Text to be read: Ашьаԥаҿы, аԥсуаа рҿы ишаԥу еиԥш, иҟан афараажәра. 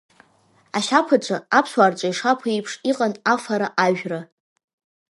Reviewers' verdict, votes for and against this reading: accepted, 2, 1